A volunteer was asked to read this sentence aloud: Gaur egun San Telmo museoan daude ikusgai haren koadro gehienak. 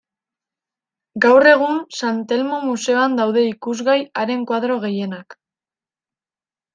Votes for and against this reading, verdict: 2, 0, accepted